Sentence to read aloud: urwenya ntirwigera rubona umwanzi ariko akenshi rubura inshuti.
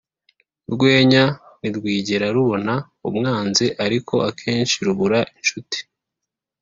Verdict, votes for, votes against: accepted, 3, 0